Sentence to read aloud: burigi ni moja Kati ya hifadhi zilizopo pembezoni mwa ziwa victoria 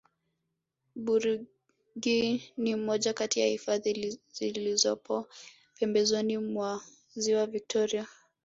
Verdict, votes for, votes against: rejected, 1, 2